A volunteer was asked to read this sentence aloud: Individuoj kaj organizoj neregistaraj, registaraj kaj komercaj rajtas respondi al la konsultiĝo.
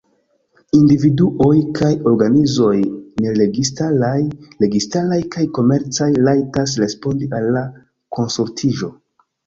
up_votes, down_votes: 1, 2